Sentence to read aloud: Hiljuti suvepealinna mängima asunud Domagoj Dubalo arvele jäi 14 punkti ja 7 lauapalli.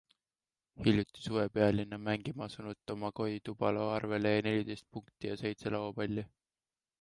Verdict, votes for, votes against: rejected, 0, 2